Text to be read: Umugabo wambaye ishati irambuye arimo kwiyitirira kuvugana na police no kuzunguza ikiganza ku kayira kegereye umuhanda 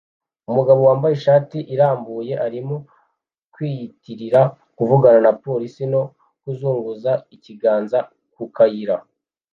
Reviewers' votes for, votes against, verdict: 0, 2, rejected